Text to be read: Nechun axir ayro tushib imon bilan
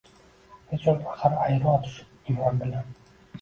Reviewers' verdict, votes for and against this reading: rejected, 1, 2